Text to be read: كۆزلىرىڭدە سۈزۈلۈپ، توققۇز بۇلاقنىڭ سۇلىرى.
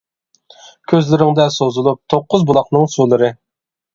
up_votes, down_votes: 0, 2